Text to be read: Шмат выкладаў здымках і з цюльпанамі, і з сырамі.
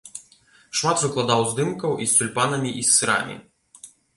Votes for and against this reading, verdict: 2, 1, accepted